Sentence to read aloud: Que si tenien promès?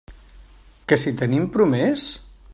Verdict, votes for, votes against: rejected, 0, 2